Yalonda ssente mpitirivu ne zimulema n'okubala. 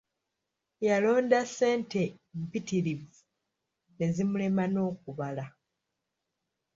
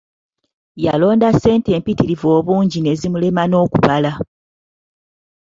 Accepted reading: first